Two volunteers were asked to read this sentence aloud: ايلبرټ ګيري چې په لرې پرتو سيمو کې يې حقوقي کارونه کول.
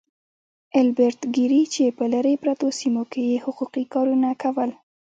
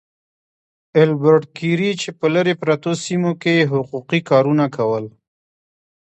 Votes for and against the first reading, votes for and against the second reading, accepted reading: 1, 2, 2, 1, second